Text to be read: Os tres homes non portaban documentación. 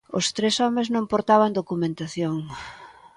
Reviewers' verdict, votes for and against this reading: accepted, 2, 0